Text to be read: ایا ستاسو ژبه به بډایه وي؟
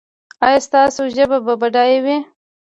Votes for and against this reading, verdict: 2, 0, accepted